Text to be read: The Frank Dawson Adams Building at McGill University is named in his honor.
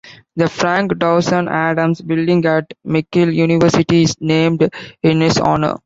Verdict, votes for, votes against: accepted, 2, 0